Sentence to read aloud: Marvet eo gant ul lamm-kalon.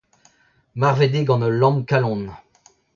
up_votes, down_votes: 0, 2